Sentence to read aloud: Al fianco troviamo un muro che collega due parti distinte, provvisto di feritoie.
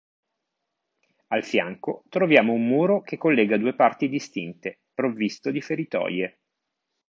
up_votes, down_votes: 2, 0